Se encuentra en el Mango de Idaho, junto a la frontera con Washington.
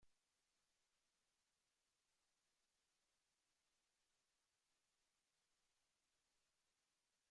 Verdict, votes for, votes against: rejected, 0, 2